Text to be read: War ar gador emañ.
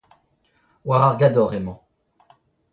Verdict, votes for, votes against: rejected, 0, 2